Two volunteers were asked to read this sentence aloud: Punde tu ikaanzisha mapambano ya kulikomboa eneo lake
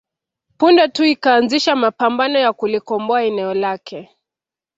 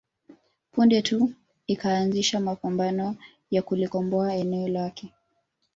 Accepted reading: first